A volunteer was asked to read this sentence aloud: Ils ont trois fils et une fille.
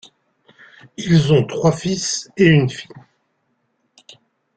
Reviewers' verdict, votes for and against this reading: accepted, 2, 0